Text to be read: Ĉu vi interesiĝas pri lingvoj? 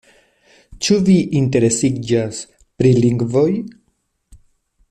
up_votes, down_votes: 2, 0